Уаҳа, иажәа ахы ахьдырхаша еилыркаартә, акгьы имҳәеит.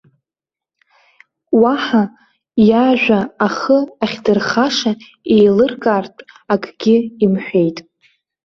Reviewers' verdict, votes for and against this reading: accepted, 2, 0